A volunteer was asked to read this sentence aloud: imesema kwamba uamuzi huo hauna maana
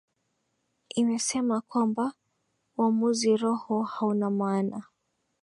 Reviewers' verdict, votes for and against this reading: rejected, 1, 2